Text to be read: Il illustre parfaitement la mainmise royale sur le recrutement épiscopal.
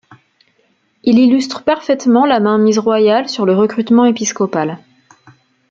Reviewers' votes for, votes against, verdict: 2, 0, accepted